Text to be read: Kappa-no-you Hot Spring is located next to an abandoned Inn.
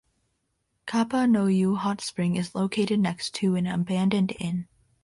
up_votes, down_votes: 2, 0